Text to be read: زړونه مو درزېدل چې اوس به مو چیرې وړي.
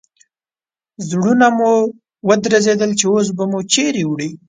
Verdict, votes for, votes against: accepted, 2, 0